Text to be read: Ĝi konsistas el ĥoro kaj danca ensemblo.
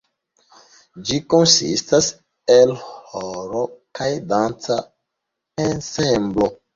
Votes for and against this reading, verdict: 0, 2, rejected